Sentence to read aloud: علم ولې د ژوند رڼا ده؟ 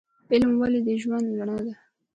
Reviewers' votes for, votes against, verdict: 2, 0, accepted